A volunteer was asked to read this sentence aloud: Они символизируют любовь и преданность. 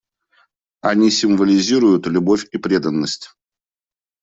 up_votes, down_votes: 2, 0